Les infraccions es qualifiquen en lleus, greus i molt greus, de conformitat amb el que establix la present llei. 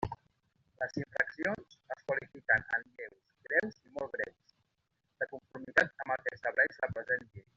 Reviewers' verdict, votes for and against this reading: rejected, 0, 2